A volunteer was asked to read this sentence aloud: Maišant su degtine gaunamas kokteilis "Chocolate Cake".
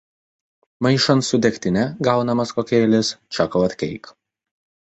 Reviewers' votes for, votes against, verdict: 2, 0, accepted